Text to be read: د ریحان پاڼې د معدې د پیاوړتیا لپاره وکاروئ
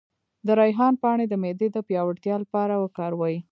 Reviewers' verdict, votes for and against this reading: accepted, 2, 0